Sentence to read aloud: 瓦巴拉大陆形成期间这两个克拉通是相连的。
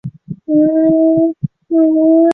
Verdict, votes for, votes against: rejected, 0, 3